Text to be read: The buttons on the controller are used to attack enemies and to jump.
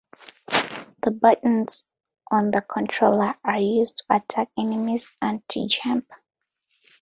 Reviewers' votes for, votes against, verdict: 2, 0, accepted